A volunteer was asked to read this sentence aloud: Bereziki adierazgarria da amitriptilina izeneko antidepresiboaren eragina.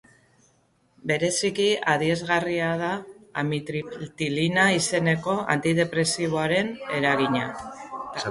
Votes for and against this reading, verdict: 2, 3, rejected